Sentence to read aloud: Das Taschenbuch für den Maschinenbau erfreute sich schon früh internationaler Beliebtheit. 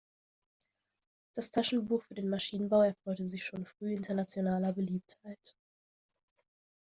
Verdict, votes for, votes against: accepted, 2, 0